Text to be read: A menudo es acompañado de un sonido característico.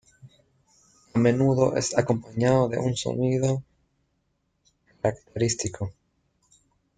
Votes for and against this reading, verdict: 0, 2, rejected